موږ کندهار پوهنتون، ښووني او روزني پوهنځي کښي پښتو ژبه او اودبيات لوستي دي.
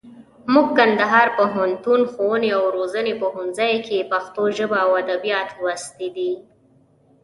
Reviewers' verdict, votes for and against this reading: accepted, 2, 0